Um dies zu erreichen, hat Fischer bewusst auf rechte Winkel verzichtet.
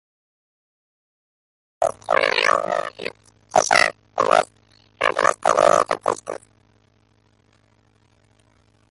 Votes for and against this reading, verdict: 0, 2, rejected